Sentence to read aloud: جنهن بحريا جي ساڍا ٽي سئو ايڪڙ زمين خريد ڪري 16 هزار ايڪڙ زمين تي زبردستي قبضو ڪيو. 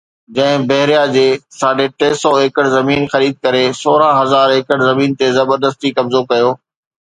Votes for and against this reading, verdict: 0, 2, rejected